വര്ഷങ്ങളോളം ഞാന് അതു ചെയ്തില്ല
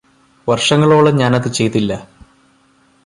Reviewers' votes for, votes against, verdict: 2, 0, accepted